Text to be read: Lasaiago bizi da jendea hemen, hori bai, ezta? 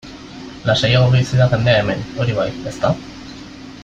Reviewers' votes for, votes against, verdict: 0, 2, rejected